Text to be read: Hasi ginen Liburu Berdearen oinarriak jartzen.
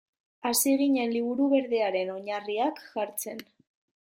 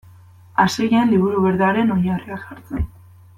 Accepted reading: first